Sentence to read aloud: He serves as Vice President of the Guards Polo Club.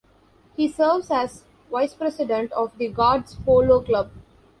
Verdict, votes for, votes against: accepted, 2, 0